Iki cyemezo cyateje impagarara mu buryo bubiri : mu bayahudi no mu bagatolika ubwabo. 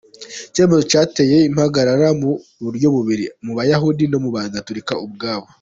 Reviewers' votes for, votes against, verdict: 2, 0, accepted